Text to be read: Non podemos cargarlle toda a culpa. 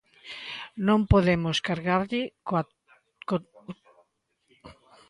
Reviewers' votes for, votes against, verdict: 0, 2, rejected